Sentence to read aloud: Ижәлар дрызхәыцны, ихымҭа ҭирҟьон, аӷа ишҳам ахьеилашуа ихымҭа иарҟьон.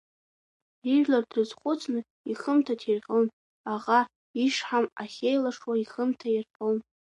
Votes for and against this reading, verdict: 1, 2, rejected